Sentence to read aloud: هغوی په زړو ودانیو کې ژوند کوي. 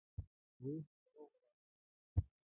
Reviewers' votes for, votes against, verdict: 0, 3, rejected